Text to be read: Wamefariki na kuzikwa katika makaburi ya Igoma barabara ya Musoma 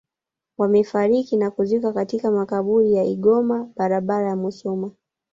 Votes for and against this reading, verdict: 1, 2, rejected